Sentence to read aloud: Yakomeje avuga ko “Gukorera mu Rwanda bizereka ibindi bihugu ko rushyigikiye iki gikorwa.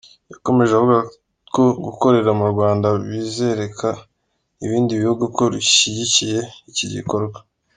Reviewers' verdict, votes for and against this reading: accepted, 2, 1